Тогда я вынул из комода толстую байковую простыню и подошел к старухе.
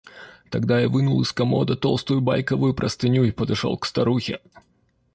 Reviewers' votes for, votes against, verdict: 0, 2, rejected